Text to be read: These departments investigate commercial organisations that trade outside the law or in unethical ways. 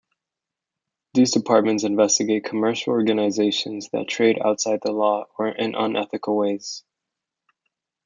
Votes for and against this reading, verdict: 2, 1, accepted